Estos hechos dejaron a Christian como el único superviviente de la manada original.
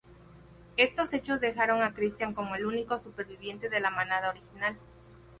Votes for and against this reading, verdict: 2, 0, accepted